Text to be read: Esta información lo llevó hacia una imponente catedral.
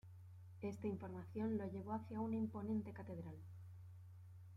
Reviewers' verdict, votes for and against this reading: accepted, 2, 1